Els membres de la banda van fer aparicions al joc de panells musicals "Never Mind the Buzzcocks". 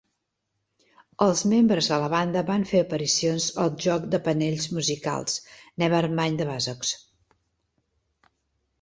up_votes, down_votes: 2, 0